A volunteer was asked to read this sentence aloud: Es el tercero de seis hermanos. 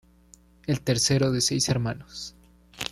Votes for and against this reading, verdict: 1, 2, rejected